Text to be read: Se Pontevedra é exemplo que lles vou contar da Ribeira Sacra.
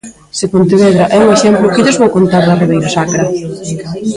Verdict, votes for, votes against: rejected, 0, 2